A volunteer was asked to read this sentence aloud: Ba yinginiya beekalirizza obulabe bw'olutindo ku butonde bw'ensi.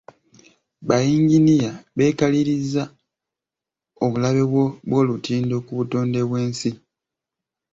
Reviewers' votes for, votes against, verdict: 1, 2, rejected